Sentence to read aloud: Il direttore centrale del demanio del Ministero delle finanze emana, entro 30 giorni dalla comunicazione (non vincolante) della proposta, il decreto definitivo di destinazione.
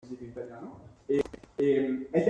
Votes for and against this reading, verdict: 0, 2, rejected